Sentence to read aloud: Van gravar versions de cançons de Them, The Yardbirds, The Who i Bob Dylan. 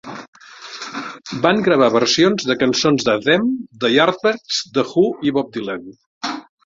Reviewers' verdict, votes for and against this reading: rejected, 0, 2